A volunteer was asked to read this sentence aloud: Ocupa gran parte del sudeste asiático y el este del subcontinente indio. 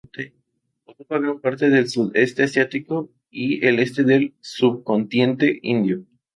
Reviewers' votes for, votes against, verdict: 0, 2, rejected